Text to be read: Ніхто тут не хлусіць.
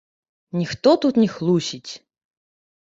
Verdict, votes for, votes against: rejected, 1, 2